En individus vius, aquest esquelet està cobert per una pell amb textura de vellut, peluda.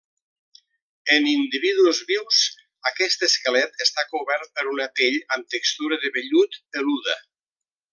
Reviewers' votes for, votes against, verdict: 2, 0, accepted